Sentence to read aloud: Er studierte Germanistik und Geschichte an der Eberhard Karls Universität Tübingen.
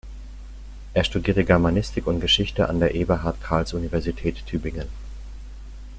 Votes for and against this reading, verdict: 2, 0, accepted